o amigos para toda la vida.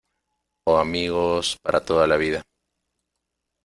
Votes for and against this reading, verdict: 2, 0, accepted